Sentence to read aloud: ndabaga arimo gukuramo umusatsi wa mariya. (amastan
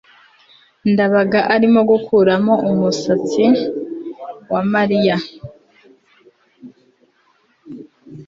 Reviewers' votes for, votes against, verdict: 1, 2, rejected